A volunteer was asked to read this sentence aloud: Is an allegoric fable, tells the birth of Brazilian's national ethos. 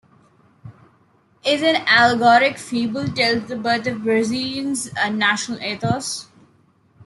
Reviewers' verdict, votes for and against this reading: accepted, 2, 1